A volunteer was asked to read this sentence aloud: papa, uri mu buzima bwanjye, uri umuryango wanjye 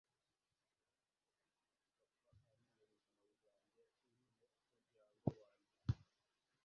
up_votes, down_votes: 0, 2